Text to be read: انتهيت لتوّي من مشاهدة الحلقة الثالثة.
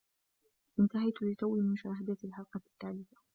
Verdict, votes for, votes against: accepted, 2, 0